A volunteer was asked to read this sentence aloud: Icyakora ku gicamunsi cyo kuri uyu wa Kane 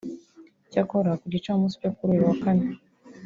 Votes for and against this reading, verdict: 1, 2, rejected